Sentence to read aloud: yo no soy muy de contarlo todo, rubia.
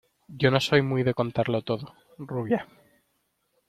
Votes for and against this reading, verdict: 2, 1, accepted